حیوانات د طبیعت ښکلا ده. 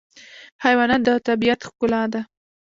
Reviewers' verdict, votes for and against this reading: accepted, 2, 1